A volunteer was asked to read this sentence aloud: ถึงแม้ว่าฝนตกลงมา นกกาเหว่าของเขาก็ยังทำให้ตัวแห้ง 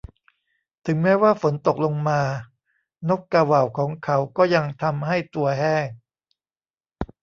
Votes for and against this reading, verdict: 2, 0, accepted